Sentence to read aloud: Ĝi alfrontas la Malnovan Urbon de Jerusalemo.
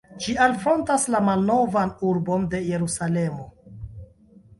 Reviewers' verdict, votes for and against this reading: rejected, 1, 2